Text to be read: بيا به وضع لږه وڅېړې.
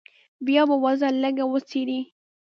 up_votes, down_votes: 2, 1